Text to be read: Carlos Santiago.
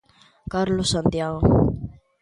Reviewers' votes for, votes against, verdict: 2, 0, accepted